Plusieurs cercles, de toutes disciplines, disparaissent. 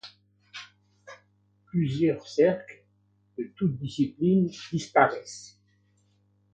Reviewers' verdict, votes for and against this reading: rejected, 1, 2